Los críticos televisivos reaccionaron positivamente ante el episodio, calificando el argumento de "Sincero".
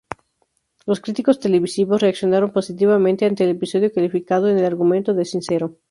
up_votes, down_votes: 2, 2